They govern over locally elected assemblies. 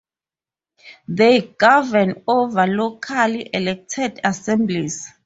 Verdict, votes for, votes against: accepted, 4, 0